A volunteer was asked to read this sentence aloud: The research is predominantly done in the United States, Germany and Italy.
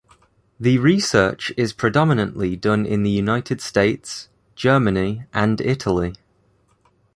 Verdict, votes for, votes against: accepted, 2, 0